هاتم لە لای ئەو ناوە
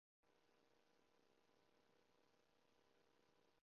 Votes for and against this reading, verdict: 1, 2, rejected